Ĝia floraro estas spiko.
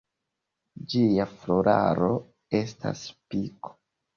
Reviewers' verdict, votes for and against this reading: accepted, 2, 0